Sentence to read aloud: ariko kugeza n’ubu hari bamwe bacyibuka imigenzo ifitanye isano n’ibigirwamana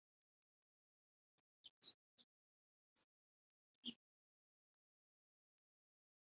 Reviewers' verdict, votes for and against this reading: rejected, 0, 2